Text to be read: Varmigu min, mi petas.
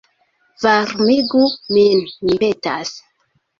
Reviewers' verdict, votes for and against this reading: rejected, 0, 2